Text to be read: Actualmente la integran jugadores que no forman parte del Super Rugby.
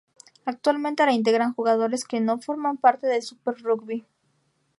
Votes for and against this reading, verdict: 2, 0, accepted